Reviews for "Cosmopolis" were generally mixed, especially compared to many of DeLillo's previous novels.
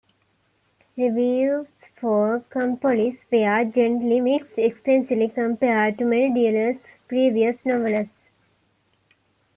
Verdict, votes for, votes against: rejected, 0, 2